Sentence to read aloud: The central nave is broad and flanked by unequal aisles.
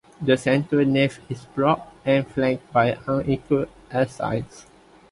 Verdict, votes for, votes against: rejected, 1, 2